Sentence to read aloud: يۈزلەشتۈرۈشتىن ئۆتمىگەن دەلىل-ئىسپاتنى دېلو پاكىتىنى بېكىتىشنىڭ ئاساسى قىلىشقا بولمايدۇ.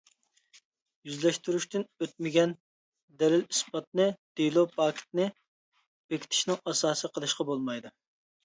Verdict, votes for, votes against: rejected, 1, 2